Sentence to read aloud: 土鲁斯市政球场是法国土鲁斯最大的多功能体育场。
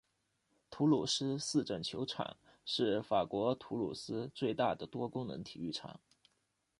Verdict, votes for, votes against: accepted, 2, 0